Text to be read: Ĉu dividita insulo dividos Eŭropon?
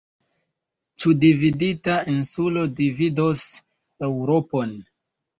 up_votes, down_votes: 2, 0